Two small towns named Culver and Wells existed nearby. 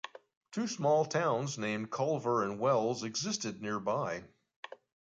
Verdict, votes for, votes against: accepted, 2, 0